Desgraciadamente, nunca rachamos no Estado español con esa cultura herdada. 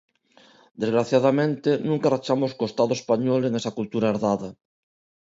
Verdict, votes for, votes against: rejected, 0, 2